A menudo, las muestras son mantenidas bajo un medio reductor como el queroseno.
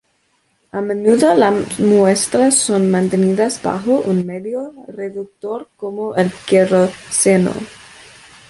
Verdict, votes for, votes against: rejected, 0, 2